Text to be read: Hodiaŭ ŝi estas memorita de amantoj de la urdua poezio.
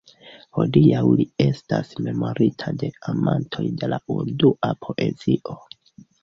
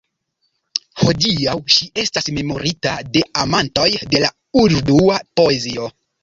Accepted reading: second